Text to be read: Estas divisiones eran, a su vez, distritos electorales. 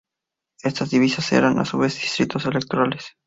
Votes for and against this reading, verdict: 2, 0, accepted